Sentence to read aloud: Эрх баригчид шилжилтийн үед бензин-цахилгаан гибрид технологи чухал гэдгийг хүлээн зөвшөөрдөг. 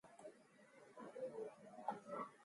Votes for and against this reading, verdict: 0, 4, rejected